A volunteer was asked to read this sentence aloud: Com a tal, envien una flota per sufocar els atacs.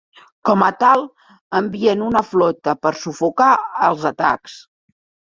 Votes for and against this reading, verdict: 3, 0, accepted